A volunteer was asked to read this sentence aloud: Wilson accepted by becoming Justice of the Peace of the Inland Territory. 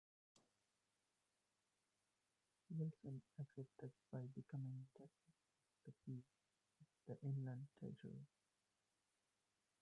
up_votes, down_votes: 0, 2